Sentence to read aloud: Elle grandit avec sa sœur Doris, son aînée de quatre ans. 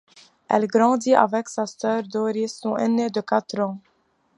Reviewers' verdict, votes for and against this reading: accepted, 2, 0